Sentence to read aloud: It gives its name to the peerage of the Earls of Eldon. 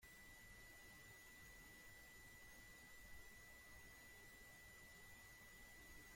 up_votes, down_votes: 0, 2